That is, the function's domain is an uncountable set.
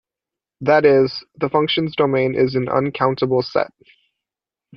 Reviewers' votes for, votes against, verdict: 2, 0, accepted